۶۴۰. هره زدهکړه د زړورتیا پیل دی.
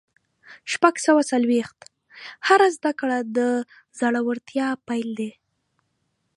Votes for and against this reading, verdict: 0, 2, rejected